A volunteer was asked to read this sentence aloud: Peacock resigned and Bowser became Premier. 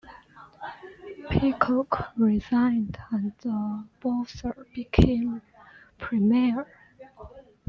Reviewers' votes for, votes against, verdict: 0, 2, rejected